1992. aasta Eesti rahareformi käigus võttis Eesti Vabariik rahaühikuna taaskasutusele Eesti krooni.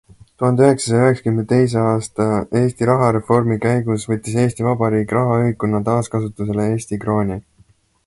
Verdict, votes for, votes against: rejected, 0, 2